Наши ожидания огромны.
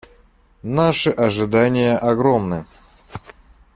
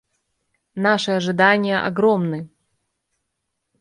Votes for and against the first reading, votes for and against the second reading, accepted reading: 2, 0, 1, 2, first